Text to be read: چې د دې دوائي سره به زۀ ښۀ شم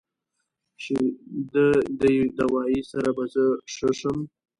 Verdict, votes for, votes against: accepted, 2, 0